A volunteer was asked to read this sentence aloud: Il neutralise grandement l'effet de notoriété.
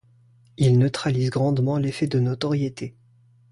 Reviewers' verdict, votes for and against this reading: accepted, 2, 0